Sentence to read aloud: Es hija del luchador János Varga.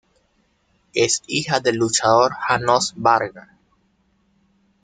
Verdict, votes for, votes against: rejected, 1, 2